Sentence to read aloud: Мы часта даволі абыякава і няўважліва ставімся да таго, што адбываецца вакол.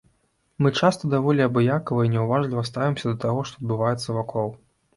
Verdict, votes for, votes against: accepted, 2, 0